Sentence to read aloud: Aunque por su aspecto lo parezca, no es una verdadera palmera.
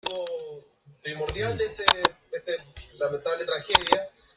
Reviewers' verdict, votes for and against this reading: rejected, 0, 2